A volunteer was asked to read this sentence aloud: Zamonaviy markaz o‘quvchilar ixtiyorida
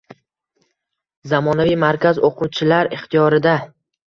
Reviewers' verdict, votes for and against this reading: accepted, 2, 0